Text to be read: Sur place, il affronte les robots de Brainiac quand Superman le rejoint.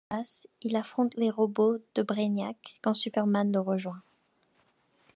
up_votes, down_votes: 0, 2